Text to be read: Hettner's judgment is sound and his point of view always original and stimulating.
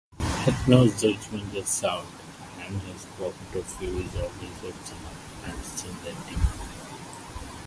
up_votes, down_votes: 0, 2